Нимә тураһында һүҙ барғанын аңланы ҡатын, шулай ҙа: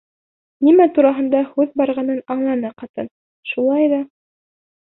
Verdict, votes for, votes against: accepted, 2, 0